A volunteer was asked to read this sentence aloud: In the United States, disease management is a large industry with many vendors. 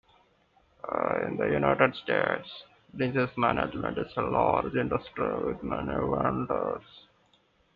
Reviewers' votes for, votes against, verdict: 1, 2, rejected